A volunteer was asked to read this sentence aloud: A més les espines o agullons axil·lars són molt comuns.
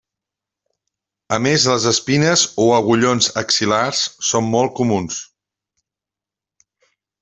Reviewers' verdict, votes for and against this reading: accepted, 3, 0